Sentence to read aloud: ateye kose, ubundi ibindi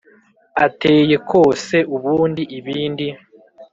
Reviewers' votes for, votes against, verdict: 2, 0, accepted